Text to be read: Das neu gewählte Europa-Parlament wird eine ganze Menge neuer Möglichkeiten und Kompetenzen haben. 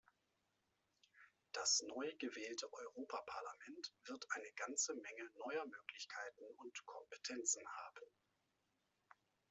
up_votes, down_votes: 2, 0